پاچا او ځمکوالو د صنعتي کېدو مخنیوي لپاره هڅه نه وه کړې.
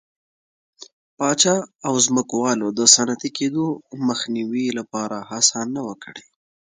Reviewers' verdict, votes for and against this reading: accepted, 2, 0